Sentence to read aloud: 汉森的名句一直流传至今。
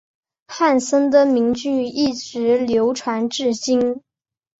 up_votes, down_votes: 3, 0